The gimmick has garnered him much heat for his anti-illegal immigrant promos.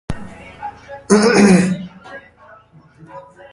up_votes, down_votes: 0, 2